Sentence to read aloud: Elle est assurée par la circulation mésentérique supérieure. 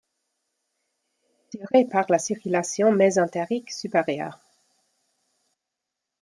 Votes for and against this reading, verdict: 0, 2, rejected